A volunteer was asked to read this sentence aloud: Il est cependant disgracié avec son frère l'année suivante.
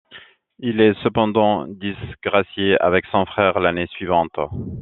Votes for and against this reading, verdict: 2, 0, accepted